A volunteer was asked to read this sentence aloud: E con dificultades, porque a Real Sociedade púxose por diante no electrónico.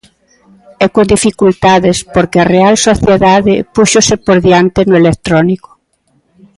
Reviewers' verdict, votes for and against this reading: accepted, 2, 0